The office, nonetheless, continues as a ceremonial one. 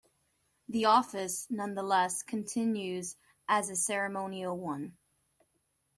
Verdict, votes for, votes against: accepted, 2, 0